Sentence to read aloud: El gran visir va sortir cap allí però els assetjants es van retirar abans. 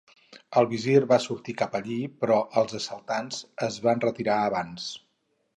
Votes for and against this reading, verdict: 0, 4, rejected